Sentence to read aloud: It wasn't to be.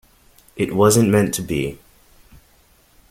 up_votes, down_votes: 1, 2